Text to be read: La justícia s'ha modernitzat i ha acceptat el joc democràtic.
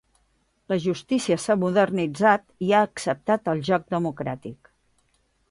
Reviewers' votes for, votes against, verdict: 2, 0, accepted